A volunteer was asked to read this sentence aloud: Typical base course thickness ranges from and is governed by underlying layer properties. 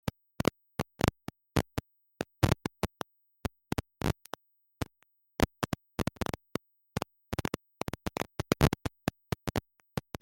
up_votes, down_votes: 0, 2